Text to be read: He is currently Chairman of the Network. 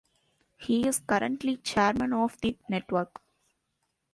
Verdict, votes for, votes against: accepted, 2, 0